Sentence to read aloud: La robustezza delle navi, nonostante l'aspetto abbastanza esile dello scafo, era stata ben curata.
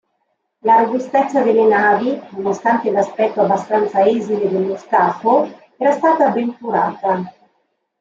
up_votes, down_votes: 2, 0